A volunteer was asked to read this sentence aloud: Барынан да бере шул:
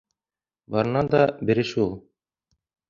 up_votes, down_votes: 2, 0